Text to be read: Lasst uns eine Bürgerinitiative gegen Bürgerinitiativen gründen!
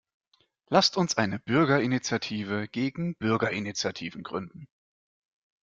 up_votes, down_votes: 2, 0